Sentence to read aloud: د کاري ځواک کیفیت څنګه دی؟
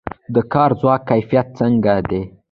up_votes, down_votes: 0, 2